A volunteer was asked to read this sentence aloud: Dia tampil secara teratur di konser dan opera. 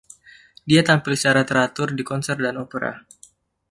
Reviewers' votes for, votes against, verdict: 2, 0, accepted